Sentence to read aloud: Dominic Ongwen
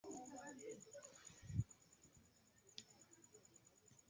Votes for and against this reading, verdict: 0, 2, rejected